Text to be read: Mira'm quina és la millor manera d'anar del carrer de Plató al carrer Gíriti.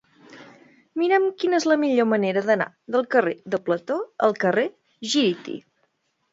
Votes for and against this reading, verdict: 1, 2, rejected